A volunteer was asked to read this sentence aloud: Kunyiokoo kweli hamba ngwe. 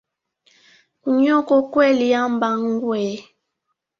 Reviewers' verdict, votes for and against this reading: rejected, 1, 2